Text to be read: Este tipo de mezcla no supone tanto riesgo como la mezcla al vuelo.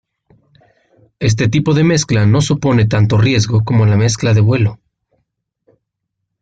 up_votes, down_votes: 0, 2